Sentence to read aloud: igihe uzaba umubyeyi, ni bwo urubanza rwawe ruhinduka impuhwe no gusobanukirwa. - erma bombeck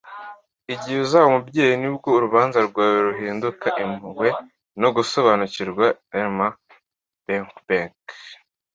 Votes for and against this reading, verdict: 2, 0, accepted